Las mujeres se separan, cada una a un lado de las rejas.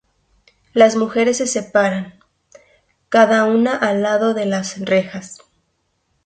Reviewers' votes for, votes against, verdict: 0, 2, rejected